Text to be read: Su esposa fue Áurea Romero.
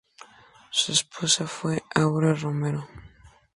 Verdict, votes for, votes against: rejected, 0, 4